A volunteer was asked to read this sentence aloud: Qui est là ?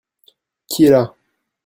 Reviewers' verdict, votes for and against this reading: accepted, 2, 0